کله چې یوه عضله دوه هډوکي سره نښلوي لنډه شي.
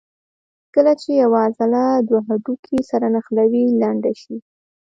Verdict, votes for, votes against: accepted, 3, 0